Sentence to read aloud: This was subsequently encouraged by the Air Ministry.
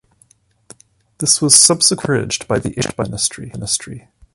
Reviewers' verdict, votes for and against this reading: rejected, 1, 2